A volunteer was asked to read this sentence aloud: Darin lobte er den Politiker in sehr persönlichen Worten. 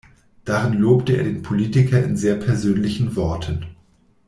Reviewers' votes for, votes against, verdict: 2, 0, accepted